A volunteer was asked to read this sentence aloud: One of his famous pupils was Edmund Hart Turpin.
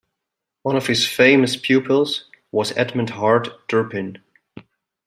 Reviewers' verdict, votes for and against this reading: accepted, 2, 0